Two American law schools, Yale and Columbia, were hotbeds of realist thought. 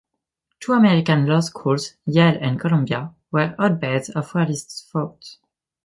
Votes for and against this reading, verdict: 1, 2, rejected